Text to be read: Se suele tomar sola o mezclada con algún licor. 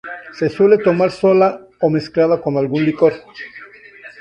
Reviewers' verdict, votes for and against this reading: rejected, 0, 2